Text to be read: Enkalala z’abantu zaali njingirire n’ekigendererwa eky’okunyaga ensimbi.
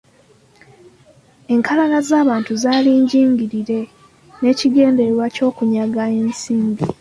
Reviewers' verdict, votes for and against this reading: rejected, 0, 2